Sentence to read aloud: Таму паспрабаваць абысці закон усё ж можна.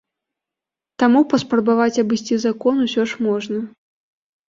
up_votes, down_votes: 2, 0